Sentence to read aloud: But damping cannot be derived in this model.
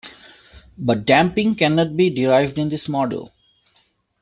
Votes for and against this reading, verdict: 2, 0, accepted